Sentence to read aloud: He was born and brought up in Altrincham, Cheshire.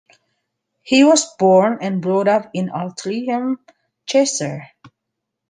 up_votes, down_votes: 1, 2